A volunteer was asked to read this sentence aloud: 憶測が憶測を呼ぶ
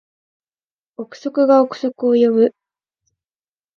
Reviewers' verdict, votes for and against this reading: accepted, 2, 0